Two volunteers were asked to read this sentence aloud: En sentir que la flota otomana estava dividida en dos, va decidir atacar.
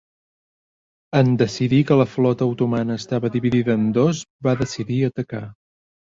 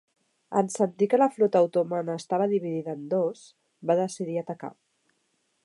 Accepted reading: second